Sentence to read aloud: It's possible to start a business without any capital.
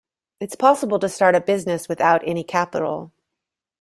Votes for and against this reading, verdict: 2, 0, accepted